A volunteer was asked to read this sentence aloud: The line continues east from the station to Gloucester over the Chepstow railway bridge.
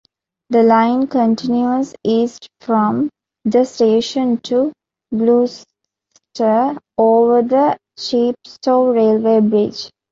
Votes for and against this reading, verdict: 1, 2, rejected